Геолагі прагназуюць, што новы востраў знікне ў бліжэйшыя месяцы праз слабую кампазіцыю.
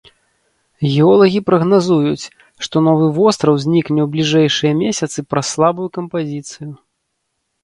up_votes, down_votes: 2, 1